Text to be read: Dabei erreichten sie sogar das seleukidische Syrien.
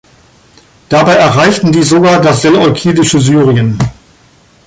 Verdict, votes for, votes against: rejected, 0, 2